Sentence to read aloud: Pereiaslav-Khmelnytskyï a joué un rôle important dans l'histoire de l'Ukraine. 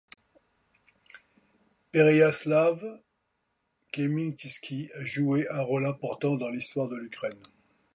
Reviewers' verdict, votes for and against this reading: accepted, 2, 0